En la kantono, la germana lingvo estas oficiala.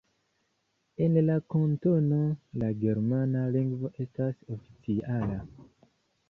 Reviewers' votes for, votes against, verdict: 1, 2, rejected